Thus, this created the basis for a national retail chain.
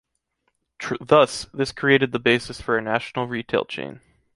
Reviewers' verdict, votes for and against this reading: rejected, 1, 2